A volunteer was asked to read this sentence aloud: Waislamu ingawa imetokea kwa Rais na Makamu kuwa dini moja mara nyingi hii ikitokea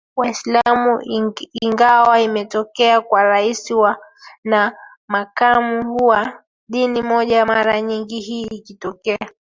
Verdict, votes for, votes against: accepted, 2, 1